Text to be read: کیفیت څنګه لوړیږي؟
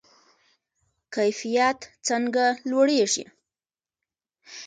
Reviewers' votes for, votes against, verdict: 2, 0, accepted